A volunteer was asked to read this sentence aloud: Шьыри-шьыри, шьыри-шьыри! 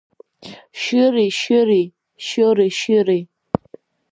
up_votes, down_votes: 1, 2